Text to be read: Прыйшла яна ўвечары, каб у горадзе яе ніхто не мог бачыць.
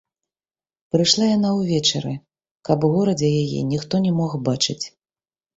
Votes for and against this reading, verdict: 1, 2, rejected